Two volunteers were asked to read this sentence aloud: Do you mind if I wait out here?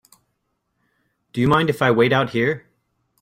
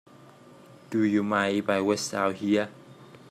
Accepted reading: first